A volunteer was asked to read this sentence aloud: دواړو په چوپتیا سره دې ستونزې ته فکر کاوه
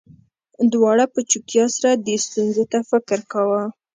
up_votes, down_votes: 2, 0